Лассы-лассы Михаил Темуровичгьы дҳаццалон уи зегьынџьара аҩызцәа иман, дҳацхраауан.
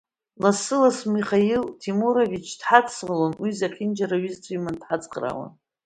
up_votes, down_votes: 1, 2